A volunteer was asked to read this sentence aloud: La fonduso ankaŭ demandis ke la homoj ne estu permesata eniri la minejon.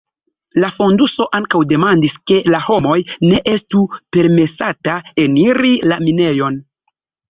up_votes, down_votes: 2, 0